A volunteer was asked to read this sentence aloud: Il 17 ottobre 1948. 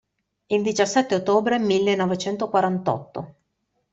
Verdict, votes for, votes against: rejected, 0, 2